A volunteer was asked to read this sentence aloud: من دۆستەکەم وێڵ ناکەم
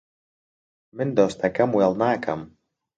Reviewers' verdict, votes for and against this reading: accepted, 2, 0